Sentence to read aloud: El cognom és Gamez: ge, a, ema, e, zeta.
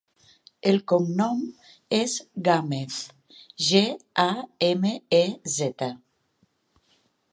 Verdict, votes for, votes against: rejected, 1, 2